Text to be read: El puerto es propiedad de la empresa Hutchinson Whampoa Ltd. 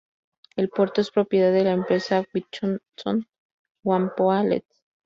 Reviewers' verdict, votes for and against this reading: rejected, 0, 2